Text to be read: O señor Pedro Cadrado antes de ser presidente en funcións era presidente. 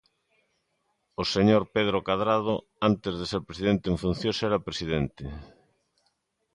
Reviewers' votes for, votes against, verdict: 2, 0, accepted